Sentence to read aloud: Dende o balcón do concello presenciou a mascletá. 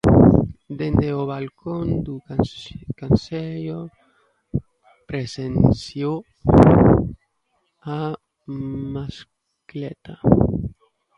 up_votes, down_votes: 0, 2